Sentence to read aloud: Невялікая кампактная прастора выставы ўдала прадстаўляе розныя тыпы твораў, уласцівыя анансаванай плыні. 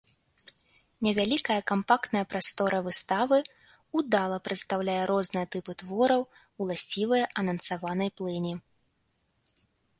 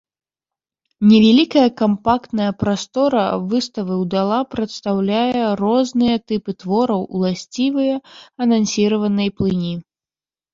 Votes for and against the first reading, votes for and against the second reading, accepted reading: 2, 0, 0, 2, first